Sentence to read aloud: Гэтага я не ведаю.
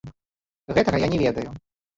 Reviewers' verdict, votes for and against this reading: rejected, 0, 2